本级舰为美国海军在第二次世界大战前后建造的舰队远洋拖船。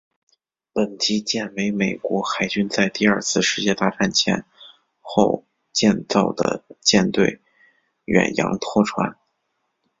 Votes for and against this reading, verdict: 4, 0, accepted